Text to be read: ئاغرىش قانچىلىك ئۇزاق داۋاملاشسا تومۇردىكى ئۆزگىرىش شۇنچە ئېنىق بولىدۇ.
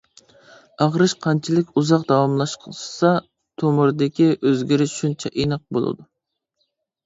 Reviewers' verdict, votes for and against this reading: rejected, 0, 2